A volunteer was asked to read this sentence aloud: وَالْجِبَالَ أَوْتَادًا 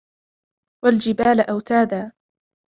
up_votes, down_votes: 1, 2